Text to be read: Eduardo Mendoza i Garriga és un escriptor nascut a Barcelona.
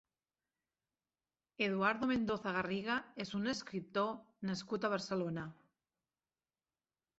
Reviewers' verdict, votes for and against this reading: rejected, 0, 2